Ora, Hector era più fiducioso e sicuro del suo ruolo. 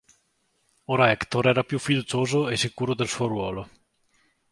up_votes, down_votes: 3, 0